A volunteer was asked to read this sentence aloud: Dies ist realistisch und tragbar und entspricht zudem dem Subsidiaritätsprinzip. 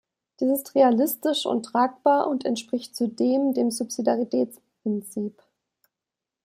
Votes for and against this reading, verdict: 1, 2, rejected